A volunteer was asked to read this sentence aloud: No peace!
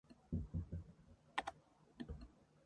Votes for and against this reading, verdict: 0, 2, rejected